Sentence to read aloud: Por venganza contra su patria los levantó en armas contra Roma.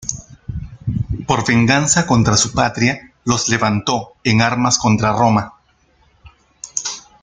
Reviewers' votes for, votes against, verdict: 2, 0, accepted